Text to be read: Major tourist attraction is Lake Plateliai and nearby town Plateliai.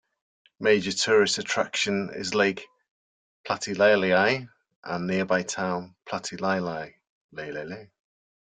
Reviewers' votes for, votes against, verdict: 1, 2, rejected